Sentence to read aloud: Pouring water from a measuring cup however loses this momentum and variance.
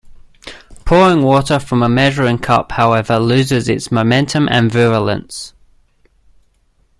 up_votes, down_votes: 0, 2